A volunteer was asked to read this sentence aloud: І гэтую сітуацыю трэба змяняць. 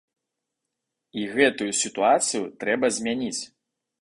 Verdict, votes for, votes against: rejected, 0, 2